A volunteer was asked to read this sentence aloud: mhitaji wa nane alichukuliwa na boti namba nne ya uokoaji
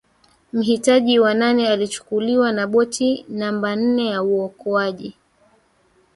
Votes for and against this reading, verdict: 2, 1, accepted